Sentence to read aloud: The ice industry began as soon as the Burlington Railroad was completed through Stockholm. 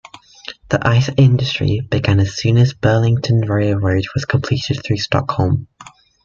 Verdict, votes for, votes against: rejected, 1, 2